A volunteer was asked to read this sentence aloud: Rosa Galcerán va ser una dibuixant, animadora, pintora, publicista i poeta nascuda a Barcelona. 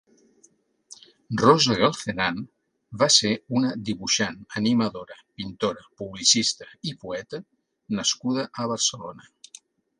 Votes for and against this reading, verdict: 3, 0, accepted